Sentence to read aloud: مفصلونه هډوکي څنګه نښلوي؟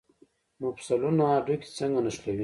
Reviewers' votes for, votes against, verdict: 0, 2, rejected